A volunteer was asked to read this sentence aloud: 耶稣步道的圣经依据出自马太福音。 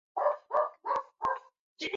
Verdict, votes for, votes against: accepted, 2, 1